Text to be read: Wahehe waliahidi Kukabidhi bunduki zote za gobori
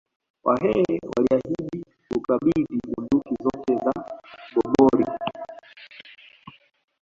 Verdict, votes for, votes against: rejected, 0, 2